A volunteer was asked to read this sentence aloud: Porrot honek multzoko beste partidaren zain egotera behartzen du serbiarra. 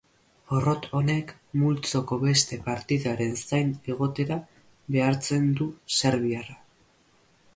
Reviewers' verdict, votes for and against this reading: accepted, 2, 0